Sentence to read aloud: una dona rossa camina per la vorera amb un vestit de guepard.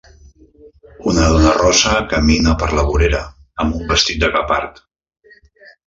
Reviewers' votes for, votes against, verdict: 2, 0, accepted